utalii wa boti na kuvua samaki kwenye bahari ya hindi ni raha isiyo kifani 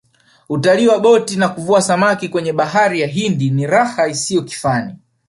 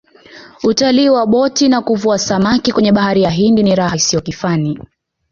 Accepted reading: second